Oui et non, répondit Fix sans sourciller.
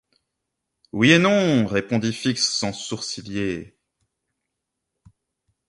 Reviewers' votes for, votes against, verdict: 3, 0, accepted